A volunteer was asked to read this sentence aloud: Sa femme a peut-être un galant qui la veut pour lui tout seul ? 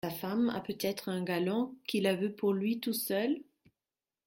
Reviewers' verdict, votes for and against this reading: rejected, 0, 2